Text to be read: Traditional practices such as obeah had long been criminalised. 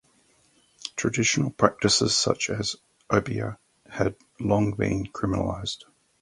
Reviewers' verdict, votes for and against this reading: accepted, 2, 0